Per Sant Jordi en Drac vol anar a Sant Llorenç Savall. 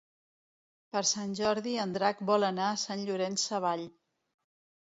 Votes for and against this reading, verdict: 2, 0, accepted